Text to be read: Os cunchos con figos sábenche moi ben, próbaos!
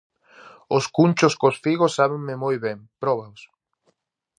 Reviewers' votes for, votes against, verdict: 0, 2, rejected